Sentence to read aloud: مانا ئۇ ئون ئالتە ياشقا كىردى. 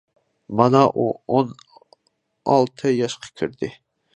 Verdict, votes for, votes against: accepted, 2, 0